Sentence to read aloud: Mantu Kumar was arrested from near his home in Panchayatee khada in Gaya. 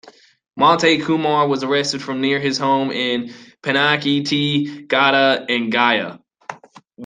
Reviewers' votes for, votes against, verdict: 2, 0, accepted